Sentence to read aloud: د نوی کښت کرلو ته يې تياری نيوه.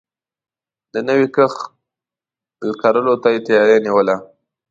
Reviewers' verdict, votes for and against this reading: rejected, 1, 2